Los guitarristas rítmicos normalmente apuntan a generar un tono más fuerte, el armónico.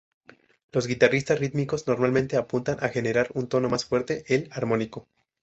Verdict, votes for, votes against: rejected, 0, 2